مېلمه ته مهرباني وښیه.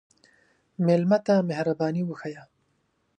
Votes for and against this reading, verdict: 1, 2, rejected